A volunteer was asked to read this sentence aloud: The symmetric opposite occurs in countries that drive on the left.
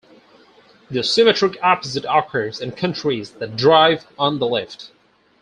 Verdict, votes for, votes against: rejected, 2, 2